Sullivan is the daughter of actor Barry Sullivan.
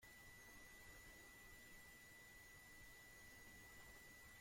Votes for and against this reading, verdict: 0, 2, rejected